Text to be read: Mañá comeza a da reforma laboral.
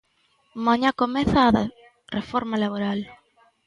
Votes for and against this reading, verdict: 0, 2, rejected